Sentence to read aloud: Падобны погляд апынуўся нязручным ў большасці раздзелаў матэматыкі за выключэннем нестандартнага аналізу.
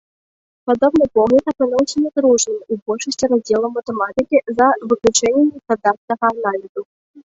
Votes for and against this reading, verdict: 1, 2, rejected